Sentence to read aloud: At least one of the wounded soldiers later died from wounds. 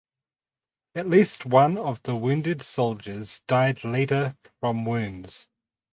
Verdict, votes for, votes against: rejected, 2, 4